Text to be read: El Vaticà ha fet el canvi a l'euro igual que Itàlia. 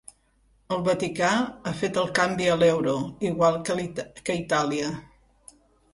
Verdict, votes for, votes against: rejected, 1, 2